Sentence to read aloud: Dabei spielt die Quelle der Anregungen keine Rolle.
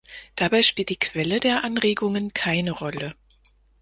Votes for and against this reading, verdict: 4, 2, accepted